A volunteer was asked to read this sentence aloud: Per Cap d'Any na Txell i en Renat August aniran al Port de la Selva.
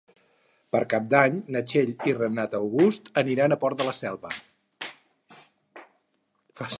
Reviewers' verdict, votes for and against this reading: rejected, 0, 4